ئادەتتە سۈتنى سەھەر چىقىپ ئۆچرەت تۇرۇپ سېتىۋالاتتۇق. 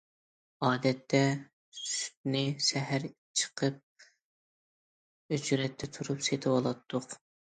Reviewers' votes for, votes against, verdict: 0, 2, rejected